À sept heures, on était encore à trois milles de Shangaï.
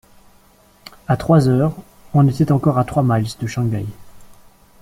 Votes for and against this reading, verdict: 1, 2, rejected